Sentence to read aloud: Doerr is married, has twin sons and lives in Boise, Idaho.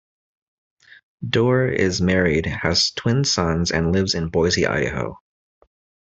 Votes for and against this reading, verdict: 2, 0, accepted